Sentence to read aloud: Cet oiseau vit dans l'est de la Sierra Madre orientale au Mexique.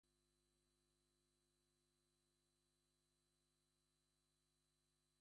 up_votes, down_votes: 1, 2